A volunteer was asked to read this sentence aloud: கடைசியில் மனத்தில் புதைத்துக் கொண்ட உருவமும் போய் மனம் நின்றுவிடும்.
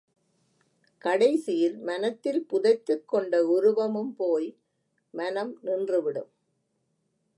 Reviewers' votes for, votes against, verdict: 2, 0, accepted